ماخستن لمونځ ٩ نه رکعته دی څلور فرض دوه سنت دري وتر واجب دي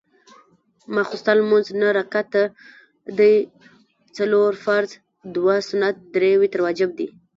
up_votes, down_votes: 0, 2